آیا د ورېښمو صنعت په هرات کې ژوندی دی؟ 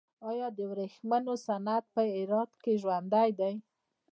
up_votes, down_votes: 0, 2